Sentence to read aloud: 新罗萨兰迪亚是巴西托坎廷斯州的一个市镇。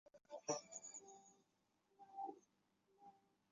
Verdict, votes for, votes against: rejected, 0, 2